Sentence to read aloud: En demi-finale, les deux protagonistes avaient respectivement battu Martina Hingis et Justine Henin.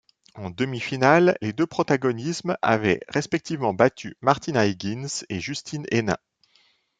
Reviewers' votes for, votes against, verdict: 0, 2, rejected